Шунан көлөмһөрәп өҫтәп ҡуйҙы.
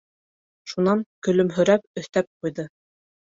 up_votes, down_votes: 2, 0